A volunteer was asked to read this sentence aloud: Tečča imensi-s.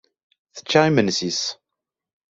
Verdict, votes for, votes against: accepted, 2, 0